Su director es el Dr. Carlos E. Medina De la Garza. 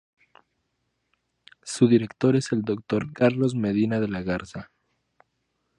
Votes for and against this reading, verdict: 0, 6, rejected